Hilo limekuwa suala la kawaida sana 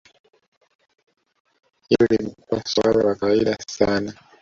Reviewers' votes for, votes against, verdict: 1, 2, rejected